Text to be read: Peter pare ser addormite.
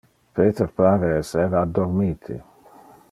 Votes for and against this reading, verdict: 0, 2, rejected